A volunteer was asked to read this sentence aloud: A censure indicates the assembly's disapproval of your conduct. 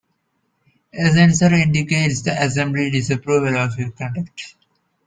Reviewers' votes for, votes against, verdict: 0, 2, rejected